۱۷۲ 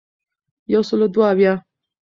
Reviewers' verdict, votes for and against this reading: rejected, 0, 2